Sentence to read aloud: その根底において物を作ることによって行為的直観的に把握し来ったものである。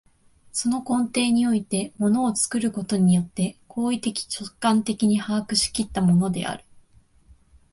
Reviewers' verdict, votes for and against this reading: accepted, 2, 0